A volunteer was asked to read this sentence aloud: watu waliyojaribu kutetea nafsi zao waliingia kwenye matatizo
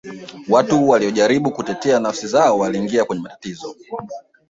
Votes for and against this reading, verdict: 1, 2, rejected